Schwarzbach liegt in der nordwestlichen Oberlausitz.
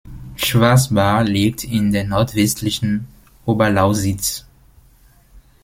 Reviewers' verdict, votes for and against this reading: rejected, 0, 2